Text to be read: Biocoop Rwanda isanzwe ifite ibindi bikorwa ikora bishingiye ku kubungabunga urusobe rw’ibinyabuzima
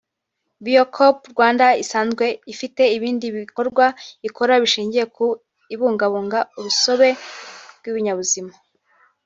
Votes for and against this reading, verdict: 1, 2, rejected